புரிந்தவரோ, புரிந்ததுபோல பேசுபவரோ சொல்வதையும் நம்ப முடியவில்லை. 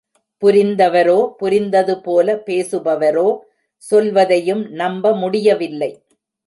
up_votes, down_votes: 2, 0